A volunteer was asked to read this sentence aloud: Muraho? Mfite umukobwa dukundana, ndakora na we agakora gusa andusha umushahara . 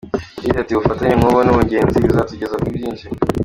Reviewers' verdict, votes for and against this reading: rejected, 0, 2